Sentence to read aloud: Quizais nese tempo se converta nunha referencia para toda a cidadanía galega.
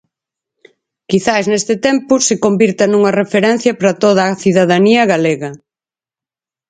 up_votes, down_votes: 0, 4